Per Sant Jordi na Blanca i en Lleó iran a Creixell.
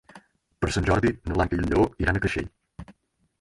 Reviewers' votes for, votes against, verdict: 2, 4, rejected